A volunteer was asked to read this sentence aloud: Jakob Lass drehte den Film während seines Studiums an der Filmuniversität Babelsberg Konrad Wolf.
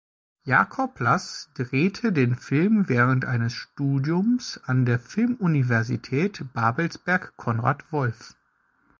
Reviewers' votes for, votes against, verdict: 0, 2, rejected